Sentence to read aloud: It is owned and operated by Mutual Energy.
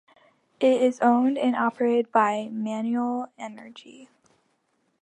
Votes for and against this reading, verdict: 0, 3, rejected